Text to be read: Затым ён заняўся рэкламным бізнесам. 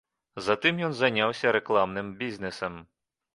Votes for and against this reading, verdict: 1, 2, rejected